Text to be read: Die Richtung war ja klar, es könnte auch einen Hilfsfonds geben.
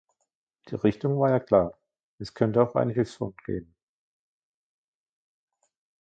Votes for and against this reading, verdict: 2, 1, accepted